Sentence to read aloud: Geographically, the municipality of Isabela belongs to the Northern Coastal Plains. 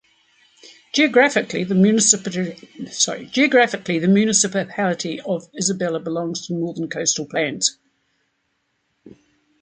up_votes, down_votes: 0, 2